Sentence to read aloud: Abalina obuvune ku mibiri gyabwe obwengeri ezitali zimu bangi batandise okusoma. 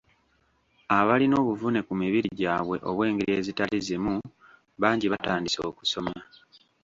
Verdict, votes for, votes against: rejected, 1, 2